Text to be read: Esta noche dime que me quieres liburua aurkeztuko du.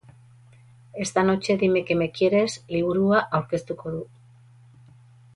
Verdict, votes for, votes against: rejected, 0, 2